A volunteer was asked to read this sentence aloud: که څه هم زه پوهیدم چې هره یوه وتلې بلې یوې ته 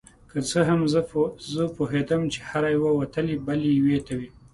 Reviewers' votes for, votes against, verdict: 2, 0, accepted